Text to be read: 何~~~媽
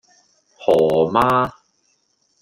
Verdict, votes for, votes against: accepted, 2, 0